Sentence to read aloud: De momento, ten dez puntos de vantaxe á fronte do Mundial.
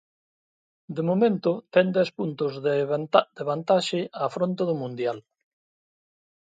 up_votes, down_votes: 0, 2